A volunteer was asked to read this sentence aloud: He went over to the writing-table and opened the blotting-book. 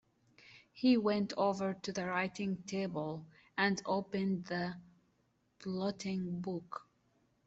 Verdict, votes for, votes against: accepted, 2, 1